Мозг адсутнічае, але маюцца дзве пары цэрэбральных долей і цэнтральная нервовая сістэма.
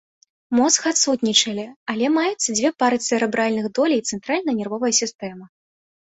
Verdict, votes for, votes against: rejected, 1, 2